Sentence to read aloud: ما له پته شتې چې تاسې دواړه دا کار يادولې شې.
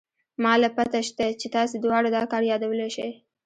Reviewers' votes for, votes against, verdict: 2, 1, accepted